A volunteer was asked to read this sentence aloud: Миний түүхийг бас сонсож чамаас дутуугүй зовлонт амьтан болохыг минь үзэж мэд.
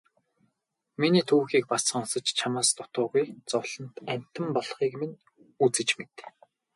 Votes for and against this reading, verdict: 2, 2, rejected